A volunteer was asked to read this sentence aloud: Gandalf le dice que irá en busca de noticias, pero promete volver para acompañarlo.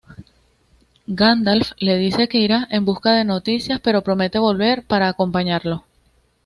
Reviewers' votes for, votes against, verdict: 2, 0, accepted